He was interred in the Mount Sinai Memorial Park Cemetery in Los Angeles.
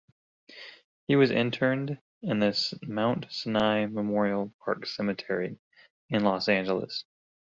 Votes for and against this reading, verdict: 1, 3, rejected